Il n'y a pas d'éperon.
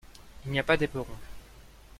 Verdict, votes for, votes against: accepted, 2, 0